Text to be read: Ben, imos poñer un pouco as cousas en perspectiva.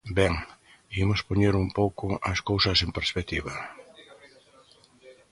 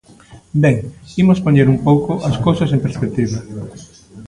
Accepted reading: second